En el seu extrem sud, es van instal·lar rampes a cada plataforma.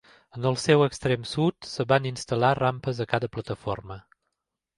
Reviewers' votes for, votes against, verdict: 2, 1, accepted